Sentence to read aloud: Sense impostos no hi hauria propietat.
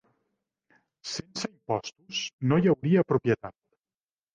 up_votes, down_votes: 1, 2